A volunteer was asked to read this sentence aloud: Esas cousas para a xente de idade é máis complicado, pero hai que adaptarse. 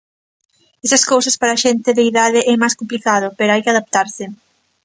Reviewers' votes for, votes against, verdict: 2, 0, accepted